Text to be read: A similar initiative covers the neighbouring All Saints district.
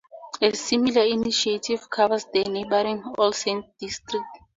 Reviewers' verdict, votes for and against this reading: accepted, 2, 0